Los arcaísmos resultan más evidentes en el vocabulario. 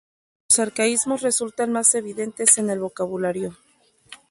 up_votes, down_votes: 4, 6